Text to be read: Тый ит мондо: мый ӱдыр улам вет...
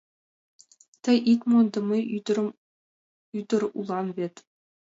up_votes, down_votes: 0, 2